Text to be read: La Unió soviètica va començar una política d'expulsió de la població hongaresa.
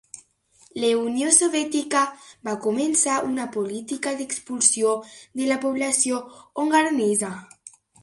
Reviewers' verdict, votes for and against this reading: rejected, 1, 2